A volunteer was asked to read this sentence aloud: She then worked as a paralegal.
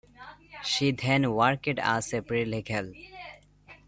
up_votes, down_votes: 0, 2